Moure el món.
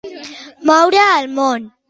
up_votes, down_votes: 2, 1